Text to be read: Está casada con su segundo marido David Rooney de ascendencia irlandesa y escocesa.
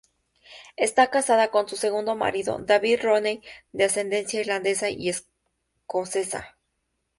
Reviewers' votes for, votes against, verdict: 2, 0, accepted